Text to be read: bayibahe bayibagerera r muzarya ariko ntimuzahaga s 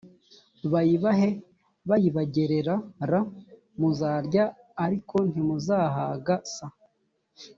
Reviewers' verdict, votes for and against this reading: accepted, 3, 0